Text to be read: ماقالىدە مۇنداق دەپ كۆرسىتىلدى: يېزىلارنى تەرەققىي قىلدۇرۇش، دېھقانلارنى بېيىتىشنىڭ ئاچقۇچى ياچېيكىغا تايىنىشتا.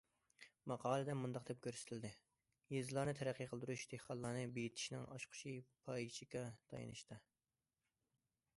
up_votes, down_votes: 0, 2